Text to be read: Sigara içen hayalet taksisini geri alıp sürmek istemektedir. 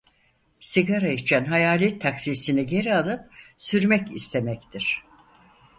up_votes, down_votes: 0, 4